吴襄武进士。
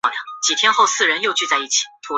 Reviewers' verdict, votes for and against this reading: rejected, 0, 2